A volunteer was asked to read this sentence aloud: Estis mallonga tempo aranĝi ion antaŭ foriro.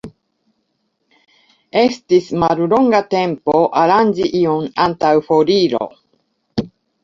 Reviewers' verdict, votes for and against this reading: accepted, 2, 0